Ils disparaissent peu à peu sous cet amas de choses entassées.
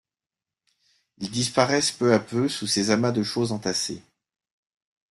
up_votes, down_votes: 0, 2